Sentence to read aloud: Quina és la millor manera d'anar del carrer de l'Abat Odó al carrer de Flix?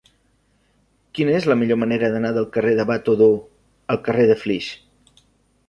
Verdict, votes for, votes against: rejected, 0, 2